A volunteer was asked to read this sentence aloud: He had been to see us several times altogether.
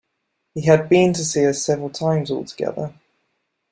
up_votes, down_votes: 2, 0